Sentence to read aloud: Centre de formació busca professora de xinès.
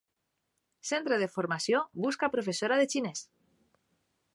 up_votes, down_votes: 3, 0